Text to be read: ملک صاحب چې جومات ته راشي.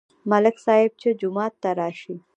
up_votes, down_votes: 1, 2